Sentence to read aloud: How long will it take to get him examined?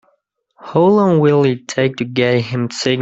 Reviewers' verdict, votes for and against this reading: rejected, 1, 2